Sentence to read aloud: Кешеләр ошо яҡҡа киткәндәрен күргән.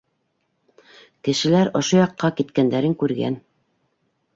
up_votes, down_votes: 2, 0